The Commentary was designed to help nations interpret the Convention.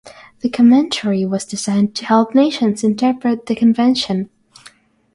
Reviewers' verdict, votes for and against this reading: rejected, 3, 3